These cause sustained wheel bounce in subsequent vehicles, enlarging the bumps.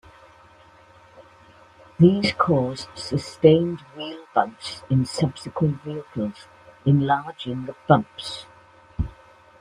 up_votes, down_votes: 2, 0